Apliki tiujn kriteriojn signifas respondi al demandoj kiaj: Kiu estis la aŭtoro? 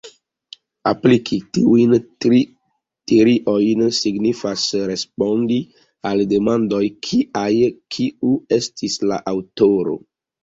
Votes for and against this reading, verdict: 1, 2, rejected